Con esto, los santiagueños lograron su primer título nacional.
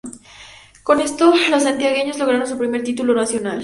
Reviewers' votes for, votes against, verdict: 2, 0, accepted